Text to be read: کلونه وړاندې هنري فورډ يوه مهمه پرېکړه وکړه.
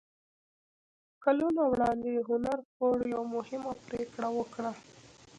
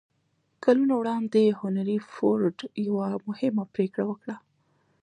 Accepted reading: second